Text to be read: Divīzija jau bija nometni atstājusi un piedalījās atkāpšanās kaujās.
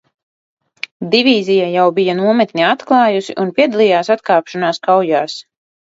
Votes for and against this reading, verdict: 1, 2, rejected